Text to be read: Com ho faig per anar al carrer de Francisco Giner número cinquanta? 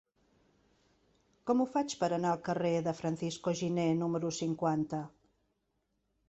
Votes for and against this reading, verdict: 4, 0, accepted